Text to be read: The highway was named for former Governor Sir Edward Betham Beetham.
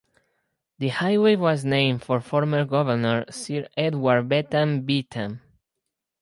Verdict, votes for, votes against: rejected, 2, 4